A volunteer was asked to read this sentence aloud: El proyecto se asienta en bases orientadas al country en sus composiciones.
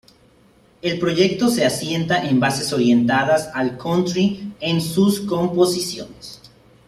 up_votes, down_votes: 2, 0